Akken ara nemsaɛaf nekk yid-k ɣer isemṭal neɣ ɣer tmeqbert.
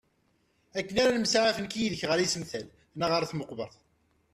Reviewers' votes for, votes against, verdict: 0, 2, rejected